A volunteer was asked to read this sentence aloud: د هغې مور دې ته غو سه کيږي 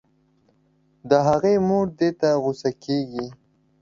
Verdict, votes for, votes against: accepted, 2, 0